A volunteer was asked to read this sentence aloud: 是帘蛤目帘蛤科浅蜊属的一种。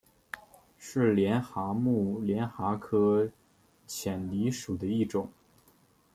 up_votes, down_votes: 2, 0